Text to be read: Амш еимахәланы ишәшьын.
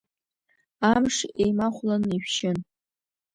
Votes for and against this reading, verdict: 0, 2, rejected